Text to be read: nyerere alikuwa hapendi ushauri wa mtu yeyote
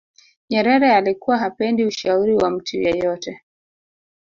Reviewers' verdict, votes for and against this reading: rejected, 1, 2